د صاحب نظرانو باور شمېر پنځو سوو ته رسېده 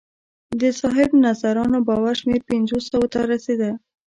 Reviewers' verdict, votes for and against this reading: rejected, 2, 3